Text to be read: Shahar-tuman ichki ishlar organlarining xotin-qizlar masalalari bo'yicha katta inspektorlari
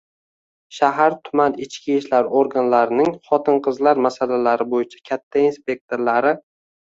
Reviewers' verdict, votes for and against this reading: accepted, 2, 0